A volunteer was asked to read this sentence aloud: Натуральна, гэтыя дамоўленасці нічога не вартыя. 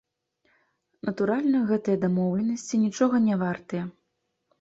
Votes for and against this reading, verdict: 2, 0, accepted